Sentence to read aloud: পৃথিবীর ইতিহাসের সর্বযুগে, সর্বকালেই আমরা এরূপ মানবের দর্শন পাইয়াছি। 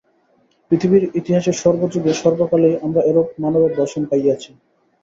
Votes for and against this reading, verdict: 3, 0, accepted